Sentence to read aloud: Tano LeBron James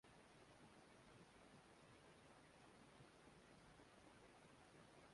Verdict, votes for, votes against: rejected, 1, 2